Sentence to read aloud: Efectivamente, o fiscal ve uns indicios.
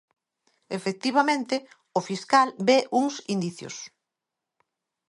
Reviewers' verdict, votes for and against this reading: accepted, 2, 0